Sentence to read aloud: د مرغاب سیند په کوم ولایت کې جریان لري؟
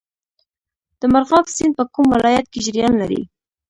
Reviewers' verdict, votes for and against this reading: rejected, 0, 2